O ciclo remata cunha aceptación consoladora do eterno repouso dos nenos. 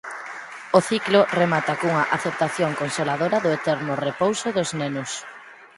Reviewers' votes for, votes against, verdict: 4, 0, accepted